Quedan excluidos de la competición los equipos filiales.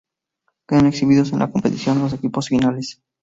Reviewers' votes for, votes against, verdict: 0, 2, rejected